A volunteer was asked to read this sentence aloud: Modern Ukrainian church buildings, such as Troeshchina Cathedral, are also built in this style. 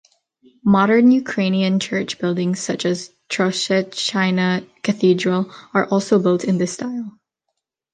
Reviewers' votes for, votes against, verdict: 2, 0, accepted